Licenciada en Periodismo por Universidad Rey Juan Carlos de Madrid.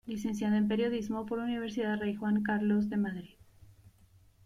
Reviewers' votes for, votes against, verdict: 2, 0, accepted